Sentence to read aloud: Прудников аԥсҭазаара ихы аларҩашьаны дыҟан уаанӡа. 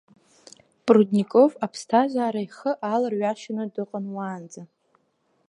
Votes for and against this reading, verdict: 3, 1, accepted